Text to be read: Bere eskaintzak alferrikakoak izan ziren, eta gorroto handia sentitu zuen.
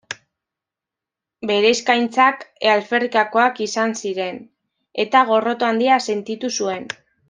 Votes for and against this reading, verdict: 0, 2, rejected